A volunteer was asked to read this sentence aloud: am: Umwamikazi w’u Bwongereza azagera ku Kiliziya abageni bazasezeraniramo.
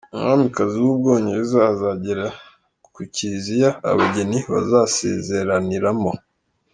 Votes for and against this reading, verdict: 2, 1, accepted